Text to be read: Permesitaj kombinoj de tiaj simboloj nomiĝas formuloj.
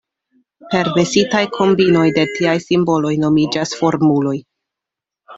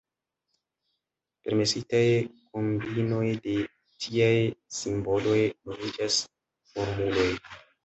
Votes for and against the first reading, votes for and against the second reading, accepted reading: 2, 0, 1, 2, first